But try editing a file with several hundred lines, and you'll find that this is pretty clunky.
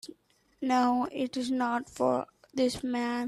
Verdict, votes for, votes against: rejected, 0, 4